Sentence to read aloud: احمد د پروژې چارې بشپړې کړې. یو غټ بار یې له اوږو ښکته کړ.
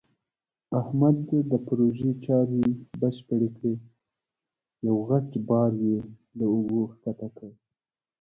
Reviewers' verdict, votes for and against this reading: rejected, 1, 2